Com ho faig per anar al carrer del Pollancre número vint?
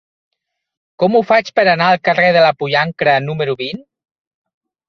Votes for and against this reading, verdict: 0, 6, rejected